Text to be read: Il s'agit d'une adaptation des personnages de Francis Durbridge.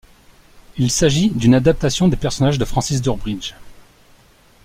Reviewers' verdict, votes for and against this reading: accepted, 2, 0